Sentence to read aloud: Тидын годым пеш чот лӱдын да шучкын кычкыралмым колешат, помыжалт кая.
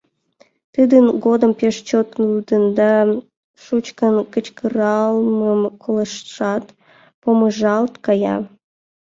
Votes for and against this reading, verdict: 1, 2, rejected